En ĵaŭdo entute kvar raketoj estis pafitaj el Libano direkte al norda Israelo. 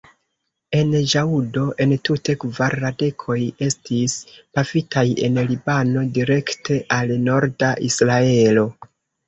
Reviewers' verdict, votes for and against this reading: rejected, 0, 2